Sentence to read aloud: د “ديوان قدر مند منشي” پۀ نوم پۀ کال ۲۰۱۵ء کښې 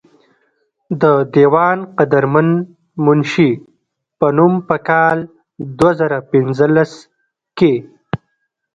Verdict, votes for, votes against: rejected, 0, 2